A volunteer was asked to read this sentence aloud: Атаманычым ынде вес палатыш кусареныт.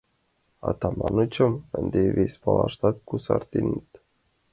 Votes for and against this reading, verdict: 2, 1, accepted